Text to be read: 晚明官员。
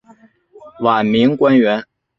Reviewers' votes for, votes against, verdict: 2, 1, accepted